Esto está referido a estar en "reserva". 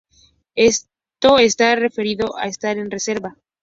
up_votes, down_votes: 2, 0